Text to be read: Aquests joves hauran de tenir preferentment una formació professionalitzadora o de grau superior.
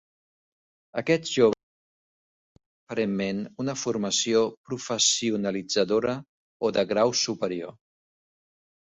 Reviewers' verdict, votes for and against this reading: rejected, 0, 2